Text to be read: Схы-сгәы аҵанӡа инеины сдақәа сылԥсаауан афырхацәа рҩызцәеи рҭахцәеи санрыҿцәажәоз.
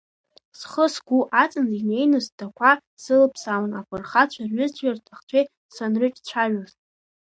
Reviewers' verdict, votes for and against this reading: accepted, 2, 0